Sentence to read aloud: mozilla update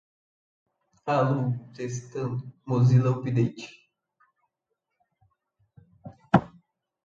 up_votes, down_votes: 0, 2